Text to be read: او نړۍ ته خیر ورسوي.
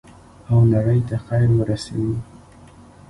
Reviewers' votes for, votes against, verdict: 2, 0, accepted